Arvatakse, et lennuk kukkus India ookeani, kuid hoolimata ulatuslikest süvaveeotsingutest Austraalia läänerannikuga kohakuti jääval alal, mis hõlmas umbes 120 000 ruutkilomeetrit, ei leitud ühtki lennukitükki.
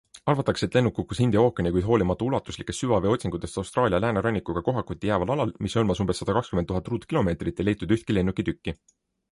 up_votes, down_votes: 0, 2